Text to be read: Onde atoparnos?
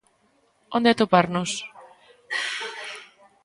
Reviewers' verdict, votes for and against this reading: accepted, 2, 0